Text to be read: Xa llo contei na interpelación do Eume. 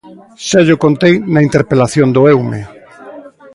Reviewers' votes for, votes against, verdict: 2, 0, accepted